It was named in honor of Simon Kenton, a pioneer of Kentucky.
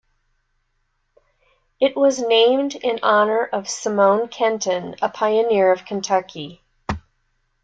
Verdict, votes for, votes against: accepted, 2, 0